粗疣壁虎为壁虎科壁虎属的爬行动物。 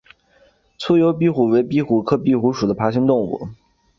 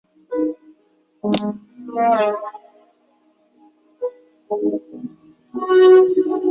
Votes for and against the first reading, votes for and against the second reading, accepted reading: 2, 0, 0, 2, first